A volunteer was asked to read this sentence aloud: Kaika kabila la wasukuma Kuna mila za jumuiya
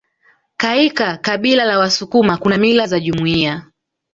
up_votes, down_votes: 1, 2